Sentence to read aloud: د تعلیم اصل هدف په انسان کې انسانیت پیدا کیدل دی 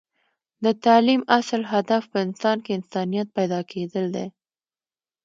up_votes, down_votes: 2, 0